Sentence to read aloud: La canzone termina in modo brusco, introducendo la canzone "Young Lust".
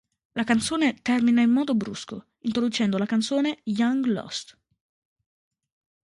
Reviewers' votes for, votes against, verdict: 2, 0, accepted